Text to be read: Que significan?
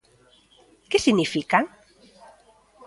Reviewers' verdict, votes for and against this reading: rejected, 0, 2